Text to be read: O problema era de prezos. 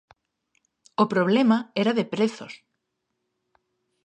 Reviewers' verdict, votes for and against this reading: accepted, 2, 0